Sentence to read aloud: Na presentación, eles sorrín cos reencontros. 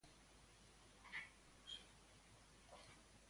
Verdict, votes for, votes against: rejected, 0, 2